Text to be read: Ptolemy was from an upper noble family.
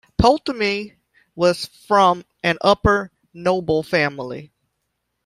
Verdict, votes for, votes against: rejected, 0, 3